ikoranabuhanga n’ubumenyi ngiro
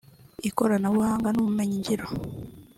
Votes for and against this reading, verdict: 4, 0, accepted